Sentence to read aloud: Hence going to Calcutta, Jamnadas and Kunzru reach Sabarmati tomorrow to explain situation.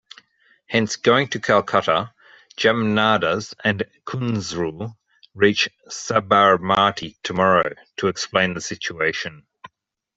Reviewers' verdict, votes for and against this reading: rejected, 0, 2